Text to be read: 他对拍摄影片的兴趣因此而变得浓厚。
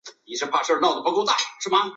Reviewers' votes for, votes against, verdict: 0, 4, rejected